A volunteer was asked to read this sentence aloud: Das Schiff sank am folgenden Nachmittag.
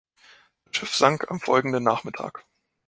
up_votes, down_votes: 0, 2